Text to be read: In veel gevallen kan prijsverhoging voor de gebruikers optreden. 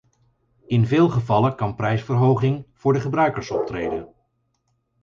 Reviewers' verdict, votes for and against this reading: accepted, 4, 0